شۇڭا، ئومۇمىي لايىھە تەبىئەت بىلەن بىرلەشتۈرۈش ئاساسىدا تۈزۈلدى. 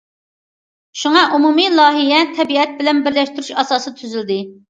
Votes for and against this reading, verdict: 2, 0, accepted